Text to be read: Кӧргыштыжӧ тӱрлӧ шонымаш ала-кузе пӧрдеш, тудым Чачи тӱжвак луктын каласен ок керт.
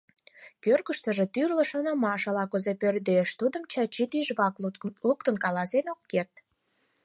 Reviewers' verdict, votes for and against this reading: accepted, 4, 2